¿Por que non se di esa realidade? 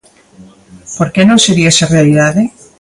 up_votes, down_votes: 2, 0